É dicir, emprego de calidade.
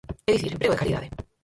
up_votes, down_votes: 0, 4